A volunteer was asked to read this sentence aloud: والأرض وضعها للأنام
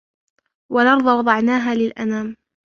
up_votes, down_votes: 0, 2